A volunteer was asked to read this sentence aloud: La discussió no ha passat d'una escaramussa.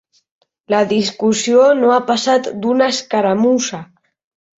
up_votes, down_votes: 2, 0